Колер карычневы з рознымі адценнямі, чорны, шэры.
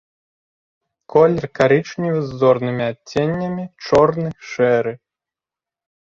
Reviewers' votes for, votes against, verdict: 0, 2, rejected